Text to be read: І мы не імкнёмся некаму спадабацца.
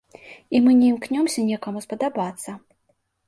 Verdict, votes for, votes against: accepted, 2, 0